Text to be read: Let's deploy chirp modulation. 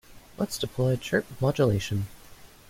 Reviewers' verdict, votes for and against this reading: accepted, 2, 0